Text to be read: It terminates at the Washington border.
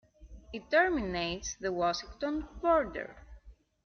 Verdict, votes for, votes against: accepted, 2, 1